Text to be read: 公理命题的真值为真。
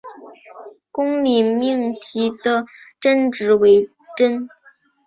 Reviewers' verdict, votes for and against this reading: accepted, 2, 0